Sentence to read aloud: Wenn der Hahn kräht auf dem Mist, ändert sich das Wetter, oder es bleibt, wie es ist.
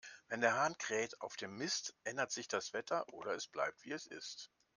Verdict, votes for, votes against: accepted, 2, 0